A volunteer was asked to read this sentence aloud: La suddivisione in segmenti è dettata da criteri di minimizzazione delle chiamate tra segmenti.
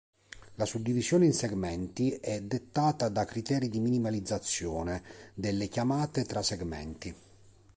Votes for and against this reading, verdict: 1, 2, rejected